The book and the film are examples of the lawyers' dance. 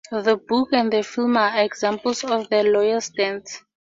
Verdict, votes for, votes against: accepted, 4, 0